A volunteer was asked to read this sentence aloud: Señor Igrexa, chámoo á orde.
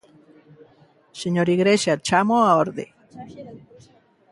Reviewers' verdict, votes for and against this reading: rejected, 0, 2